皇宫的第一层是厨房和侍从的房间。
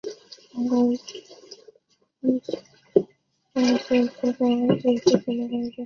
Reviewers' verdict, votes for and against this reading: rejected, 0, 2